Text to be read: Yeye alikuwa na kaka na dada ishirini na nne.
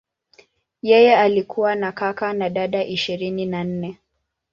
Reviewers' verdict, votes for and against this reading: accepted, 2, 0